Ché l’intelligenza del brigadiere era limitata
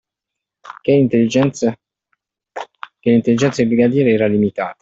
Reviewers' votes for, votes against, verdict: 0, 2, rejected